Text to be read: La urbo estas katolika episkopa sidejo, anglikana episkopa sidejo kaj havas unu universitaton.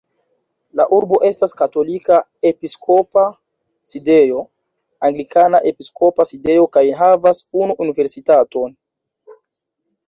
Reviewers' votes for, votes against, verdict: 2, 0, accepted